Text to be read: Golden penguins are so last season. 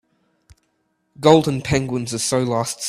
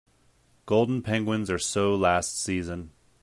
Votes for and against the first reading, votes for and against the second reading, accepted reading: 0, 2, 3, 0, second